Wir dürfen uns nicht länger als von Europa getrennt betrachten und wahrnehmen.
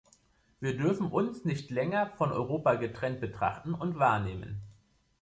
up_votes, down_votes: 0, 2